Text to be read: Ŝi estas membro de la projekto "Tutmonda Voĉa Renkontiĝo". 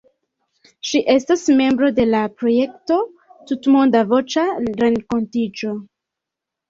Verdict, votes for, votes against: rejected, 1, 2